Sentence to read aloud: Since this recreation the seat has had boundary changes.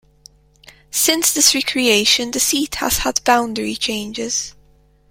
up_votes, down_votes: 2, 1